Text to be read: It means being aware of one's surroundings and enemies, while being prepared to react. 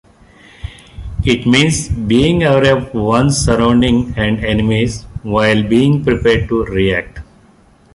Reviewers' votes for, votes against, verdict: 0, 3, rejected